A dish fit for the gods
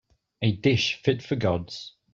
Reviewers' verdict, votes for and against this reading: accepted, 2, 1